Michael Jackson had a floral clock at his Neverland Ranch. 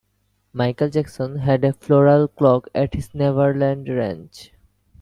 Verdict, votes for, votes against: accepted, 2, 0